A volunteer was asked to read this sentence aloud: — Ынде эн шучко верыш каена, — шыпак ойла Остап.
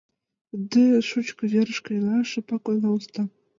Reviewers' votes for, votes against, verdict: 0, 2, rejected